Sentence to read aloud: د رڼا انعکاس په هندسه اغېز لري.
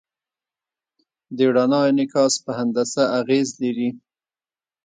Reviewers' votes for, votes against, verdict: 2, 0, accepted